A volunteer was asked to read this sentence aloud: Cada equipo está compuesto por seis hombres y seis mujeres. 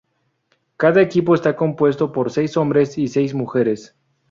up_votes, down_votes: 2, 0